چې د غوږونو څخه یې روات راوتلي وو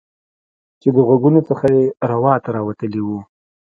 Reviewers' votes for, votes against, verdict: 2, 0, accepted